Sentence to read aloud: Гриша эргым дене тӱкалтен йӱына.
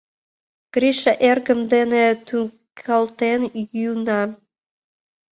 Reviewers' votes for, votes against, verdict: 2, 0, accepted